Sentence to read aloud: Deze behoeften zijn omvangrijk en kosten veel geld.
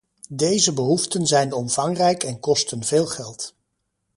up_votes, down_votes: 2, 0